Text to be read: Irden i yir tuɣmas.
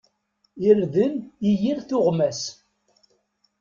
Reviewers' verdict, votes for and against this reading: accepted, 2, 0